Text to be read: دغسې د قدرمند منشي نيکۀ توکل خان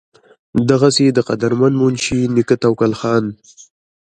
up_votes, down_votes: 2, 1